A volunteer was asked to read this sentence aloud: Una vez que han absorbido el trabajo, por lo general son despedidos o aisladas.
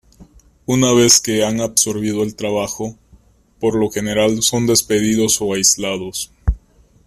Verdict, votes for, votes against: rejected, 0, 2